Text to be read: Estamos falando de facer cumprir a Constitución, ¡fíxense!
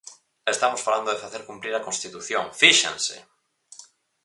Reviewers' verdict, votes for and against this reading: accepted, 4, 0